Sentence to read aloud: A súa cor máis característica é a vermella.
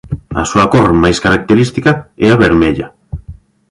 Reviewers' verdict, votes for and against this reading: accepted, 2, 0